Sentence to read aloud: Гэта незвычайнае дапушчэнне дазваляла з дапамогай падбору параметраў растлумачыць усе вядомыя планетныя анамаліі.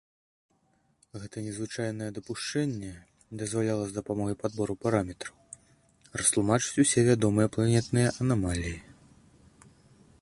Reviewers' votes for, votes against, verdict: 2, 0, accepted